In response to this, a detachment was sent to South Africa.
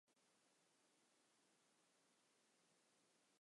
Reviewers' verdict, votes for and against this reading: rejected, 0, 2